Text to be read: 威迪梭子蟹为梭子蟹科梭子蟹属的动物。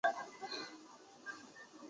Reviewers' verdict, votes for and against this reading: rejected, 1, 2